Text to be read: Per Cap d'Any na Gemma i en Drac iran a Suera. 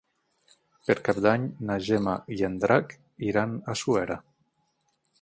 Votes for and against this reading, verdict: 18, 0, accepted